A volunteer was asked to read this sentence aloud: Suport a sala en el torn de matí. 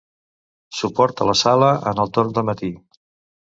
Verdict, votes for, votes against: rejected, 2, 3